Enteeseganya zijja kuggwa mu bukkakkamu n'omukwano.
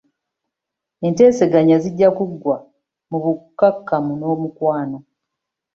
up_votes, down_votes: 2, 0